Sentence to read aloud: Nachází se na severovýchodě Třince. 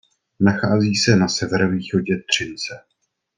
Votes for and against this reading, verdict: 2, 0, accepted